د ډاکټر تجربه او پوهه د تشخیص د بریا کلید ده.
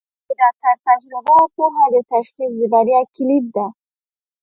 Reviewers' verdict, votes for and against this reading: rejected, 0, 2